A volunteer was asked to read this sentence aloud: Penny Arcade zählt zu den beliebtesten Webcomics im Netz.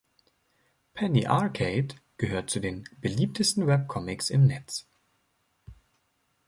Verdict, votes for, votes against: rejected, 1, 2